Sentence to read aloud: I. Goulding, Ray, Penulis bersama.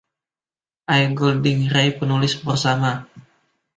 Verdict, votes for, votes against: rejected, 1, 2